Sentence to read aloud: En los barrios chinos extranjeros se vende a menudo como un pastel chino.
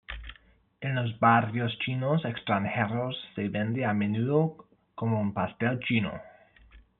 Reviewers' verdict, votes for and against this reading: rejected, 1, 2